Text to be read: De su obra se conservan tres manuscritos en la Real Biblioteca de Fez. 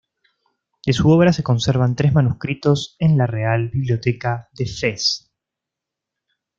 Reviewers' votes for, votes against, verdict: 2, 1, accepted